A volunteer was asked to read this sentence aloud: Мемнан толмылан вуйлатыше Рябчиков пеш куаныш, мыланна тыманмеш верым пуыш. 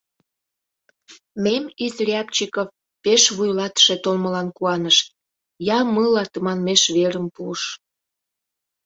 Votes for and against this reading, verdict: 0, 2, rejected